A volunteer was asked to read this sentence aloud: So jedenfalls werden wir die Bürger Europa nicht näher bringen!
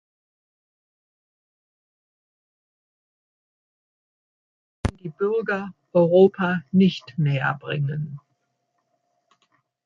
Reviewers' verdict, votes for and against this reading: rejected, 0, 2